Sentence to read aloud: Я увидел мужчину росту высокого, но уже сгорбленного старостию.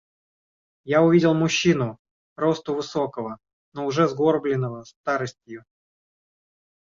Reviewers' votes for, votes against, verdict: 2, 0, accepted